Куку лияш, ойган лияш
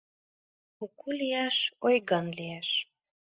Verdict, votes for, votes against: accepted, 2, 0